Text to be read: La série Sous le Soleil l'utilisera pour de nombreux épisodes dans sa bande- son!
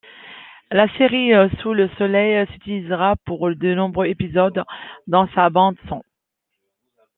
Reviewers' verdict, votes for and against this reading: rejected, 0, 2